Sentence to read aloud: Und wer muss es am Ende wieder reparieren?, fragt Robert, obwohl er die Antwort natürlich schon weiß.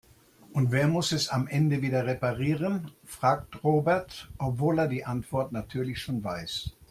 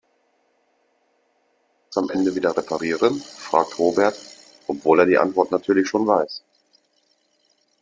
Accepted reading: first